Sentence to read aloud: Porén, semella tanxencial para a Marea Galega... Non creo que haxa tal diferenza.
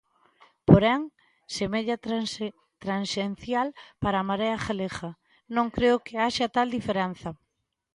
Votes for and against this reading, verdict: 0, 2, rejected